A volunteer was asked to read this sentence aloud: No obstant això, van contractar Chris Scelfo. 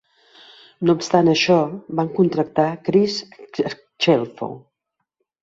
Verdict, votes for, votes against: rejected, 2, 3